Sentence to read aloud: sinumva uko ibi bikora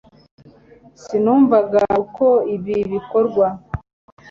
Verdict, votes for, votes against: rejected, 1, 2